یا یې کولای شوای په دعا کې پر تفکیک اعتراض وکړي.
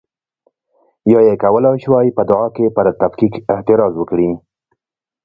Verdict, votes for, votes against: rejected, 1, 2